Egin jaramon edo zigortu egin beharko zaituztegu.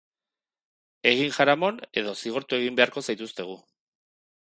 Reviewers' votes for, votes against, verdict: 3, 0, accepted